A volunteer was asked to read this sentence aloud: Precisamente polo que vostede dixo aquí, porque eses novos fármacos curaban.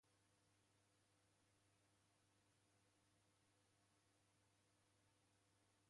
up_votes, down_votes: 0, 2